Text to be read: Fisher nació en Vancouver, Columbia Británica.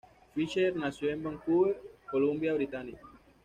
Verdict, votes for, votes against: accepted, 2, 0